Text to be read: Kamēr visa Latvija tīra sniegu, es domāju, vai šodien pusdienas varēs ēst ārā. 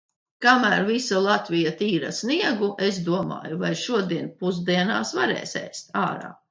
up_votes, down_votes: 0, 2